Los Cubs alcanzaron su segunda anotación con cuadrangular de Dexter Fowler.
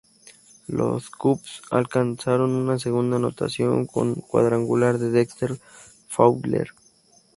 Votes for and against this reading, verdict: 0, 2, rejected